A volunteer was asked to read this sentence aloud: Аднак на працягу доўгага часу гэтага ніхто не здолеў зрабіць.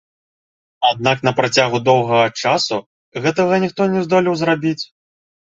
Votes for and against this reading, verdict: 2, 1, accepted